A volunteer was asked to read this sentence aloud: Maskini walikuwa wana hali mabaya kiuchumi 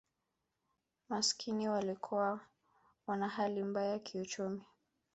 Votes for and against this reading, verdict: 1, 2, rejected